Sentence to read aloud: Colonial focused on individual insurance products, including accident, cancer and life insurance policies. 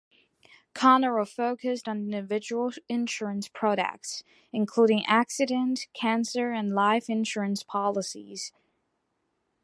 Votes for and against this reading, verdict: 1, 2, rejected